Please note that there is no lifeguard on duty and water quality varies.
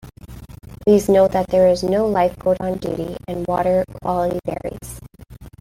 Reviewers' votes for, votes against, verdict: 2, 0, accepted